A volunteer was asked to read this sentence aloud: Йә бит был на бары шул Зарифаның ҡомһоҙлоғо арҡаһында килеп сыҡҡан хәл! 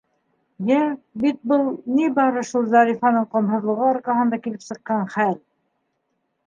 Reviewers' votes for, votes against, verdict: 1, 2, rejected